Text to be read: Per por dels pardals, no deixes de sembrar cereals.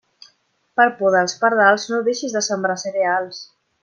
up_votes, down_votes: 1, 2